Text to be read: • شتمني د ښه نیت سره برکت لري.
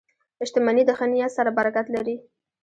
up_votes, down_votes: 2, 1